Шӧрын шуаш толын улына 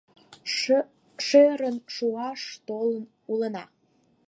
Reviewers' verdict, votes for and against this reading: rejected, 0, 4